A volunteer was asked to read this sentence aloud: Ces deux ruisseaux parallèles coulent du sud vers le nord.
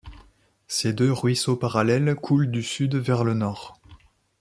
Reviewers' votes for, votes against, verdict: 2, 0, accepted